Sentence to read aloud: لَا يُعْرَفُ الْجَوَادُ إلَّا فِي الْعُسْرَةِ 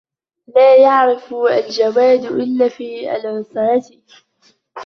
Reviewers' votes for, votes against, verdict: 3, 1, accepted